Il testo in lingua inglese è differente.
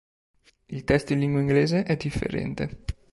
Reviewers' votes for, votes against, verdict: 2, 0, accepted